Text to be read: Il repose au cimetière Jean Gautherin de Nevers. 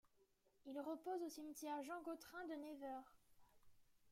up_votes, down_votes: 1, 2